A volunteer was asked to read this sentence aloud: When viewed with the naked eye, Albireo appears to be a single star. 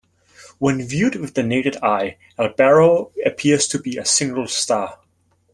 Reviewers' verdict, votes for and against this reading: rejected, 0, 2